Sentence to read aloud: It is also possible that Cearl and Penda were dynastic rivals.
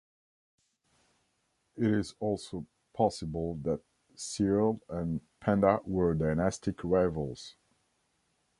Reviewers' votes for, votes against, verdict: 1, 2, rejected